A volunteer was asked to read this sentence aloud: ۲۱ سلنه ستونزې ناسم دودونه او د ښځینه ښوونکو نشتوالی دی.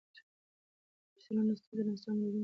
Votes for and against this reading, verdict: 0, 2, rejected